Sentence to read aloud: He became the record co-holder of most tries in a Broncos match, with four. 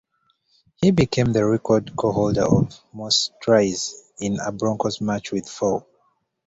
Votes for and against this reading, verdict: 2, 0, accepted